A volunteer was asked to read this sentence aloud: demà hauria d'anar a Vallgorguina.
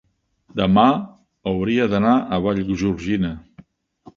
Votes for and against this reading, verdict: 0, 2, rejected